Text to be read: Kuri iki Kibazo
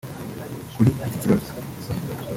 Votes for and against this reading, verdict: 1, 2, rejected